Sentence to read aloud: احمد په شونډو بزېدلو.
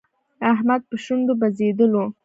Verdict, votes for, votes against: accepted, 2, 0